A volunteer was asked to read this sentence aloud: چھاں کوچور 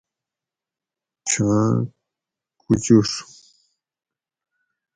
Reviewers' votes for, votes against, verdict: 0, 2, rejected